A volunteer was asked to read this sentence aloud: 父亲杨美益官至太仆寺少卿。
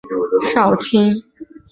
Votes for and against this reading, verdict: 0, 5, rejected